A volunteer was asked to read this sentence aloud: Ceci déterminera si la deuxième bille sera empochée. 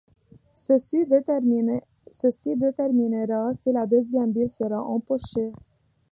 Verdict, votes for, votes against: rejected, 0, 2